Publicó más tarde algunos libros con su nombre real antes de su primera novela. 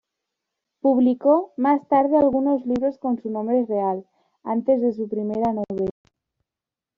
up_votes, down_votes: 1, 2